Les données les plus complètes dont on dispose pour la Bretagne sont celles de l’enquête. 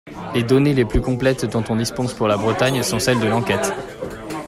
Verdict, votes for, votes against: rejected, 1, 2